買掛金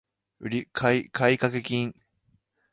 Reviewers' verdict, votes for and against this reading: rejected, 0, 4